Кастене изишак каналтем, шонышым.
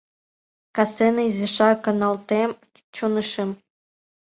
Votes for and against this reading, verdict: 1, 2, rejected